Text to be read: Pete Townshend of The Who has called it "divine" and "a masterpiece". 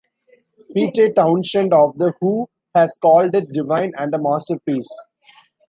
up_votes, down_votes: 1, 2